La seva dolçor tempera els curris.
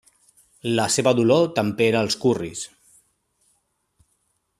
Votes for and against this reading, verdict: 0, 2, rejected